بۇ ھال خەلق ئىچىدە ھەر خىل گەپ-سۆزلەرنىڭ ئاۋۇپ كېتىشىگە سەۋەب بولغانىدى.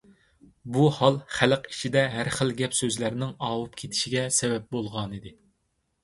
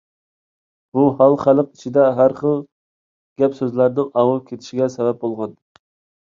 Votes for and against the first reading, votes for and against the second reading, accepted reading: 2, 0, 0, 2, first